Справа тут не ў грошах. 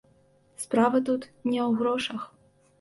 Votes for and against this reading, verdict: 2, 0, accepted